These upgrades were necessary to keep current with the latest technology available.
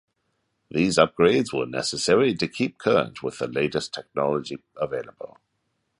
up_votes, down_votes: 2, 0